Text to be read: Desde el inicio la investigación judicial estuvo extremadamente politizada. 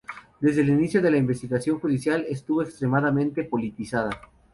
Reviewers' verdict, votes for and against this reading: rejected, 2, 2